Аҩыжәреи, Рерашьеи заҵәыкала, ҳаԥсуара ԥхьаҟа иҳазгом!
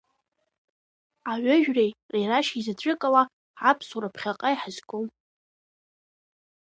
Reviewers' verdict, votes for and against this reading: accepted, 2, 1